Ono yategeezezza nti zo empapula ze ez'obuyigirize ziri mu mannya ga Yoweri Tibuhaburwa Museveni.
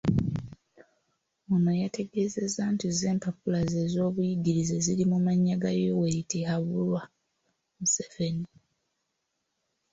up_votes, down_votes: 0, 2